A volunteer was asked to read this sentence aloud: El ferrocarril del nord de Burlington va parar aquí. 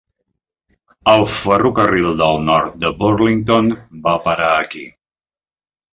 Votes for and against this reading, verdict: 3, 0, accepted